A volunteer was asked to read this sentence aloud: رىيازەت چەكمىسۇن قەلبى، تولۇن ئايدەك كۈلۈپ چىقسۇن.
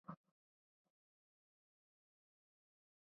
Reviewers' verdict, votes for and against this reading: rejected, 0, 2